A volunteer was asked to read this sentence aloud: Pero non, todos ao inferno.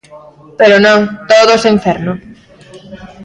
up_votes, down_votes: 1, 2